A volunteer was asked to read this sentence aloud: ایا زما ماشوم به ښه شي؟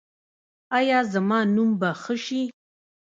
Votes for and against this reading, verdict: 0, 2, rejected